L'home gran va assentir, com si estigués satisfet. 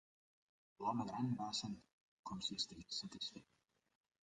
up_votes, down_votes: 2, 0